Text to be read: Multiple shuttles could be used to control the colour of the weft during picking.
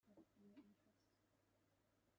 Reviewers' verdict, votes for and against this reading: rejected, 0, 2